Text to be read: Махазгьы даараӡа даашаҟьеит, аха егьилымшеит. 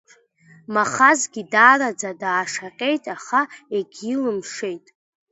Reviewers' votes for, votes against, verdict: 2, 0, accepted